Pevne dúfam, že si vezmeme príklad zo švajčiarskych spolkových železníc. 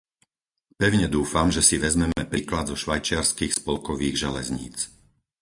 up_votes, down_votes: 2, 4